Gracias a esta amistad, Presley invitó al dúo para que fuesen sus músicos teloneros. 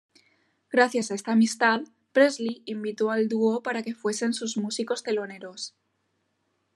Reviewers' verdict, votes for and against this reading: rejected, 1, 2